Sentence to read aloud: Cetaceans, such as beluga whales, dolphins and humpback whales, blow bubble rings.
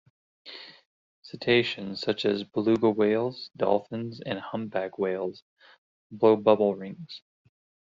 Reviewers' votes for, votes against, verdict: 2, 0, accepted